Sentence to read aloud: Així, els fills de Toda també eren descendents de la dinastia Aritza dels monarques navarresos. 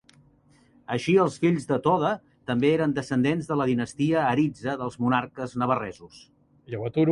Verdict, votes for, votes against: rejected, 1, 2